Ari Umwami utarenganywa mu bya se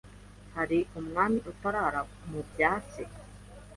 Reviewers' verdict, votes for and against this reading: rejected, 0, 3